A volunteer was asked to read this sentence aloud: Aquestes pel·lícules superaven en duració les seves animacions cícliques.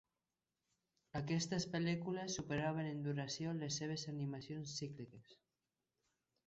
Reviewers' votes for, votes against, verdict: 2, 0, accepted